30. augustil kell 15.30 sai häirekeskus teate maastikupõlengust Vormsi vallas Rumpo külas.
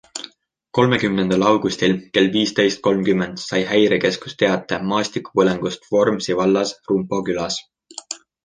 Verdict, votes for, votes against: rejected, 0, 2